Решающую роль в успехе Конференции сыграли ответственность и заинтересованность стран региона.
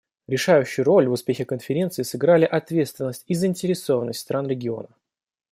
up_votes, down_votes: 2, 0